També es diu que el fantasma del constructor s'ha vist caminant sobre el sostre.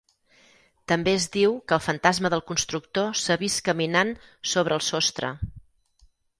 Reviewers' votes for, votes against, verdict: 6, 0, accepted